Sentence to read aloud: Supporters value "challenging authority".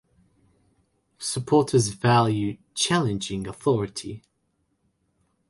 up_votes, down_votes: 2, 0